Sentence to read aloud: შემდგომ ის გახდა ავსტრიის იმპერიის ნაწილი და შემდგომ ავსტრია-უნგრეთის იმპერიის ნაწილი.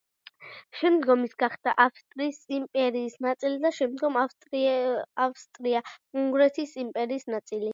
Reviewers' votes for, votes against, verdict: 2, 0, accepted